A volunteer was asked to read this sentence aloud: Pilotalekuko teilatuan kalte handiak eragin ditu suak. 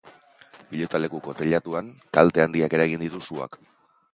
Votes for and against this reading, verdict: 4, 0, accepted